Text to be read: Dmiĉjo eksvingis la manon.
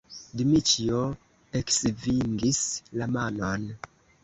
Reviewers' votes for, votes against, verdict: 1, 2, rejected